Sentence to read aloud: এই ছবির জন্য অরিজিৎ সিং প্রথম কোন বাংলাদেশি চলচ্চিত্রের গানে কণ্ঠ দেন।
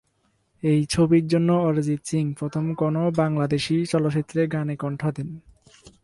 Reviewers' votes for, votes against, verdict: 0, 2, rejected